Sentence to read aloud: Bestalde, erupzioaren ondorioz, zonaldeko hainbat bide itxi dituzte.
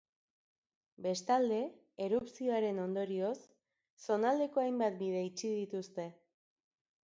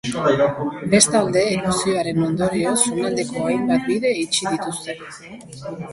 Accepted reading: first